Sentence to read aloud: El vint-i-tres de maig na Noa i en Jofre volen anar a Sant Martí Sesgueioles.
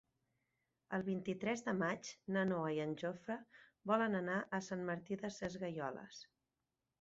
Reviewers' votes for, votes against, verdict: 4, 6, rejected